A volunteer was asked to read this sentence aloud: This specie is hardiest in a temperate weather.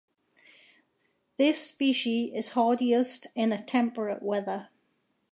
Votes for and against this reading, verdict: 2, 0, accepted